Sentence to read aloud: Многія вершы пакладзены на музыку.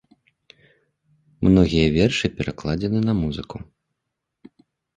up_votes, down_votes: 0, 2